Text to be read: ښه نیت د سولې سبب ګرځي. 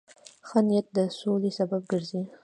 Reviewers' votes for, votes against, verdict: 1, 2, rejected